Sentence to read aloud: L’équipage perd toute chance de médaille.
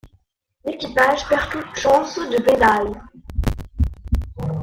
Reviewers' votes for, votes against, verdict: 1, 2, rejected